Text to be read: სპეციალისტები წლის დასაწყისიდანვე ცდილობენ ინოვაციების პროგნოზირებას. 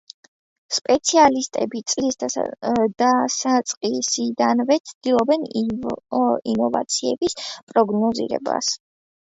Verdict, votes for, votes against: accepted, 3, 1